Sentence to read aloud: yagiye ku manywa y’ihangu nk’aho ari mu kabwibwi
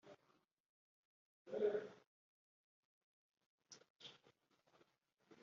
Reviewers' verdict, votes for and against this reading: rejected, 0, 2